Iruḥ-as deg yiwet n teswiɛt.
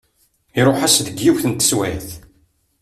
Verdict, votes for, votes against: accepted, 2, 0